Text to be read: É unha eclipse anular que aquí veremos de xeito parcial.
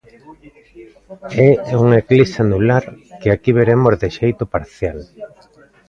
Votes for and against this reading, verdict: 1, 2, rejected